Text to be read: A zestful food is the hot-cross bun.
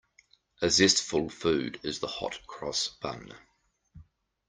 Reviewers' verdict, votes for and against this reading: accepted, 2, 0